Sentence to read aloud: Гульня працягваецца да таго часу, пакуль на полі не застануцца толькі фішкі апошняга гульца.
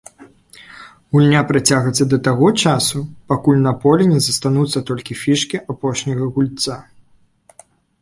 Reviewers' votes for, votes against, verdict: 1, 2, rejected